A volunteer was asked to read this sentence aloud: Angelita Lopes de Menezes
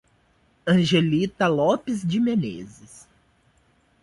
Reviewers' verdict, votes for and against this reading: accepted, 2, 0